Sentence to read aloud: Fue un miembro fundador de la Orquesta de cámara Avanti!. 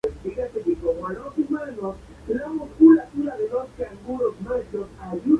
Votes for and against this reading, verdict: 0, 4, rejected